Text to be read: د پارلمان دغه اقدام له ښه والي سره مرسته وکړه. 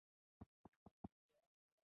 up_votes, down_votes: 1, 2